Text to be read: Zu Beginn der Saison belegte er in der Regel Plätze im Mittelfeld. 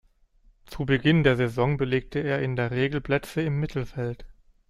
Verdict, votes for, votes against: accepted, 2, 0